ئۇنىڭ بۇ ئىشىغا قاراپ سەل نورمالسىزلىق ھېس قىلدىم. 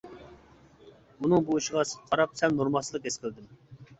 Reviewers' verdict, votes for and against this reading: rejected, 0, 2